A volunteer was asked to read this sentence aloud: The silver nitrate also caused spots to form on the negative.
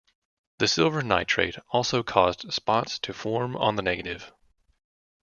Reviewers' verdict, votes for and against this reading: accepted, 2, 0